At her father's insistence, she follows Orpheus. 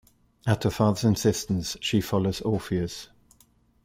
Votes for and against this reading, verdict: 2, 0, accepted